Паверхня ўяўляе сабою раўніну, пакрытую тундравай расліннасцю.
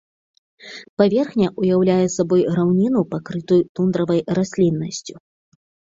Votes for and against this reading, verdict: 1, 2, rejected